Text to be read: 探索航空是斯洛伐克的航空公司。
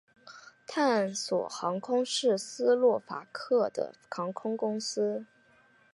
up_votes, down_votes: 3, 0